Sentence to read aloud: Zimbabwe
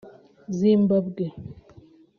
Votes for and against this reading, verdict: 2, 1, accepted